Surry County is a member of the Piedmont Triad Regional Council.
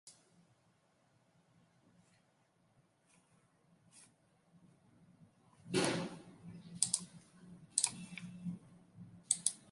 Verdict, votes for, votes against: rejected, 0, 2